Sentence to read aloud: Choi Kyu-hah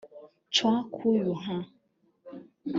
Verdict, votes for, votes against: rejected, 2, 3